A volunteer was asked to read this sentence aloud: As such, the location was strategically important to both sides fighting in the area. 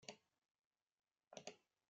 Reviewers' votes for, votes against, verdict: 0, 2, rejected